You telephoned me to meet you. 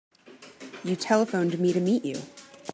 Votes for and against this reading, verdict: 2, 0, accepted